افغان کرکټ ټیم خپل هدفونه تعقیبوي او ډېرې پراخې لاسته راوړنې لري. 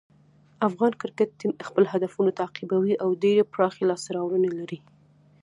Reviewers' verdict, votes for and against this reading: accepted, 2, 0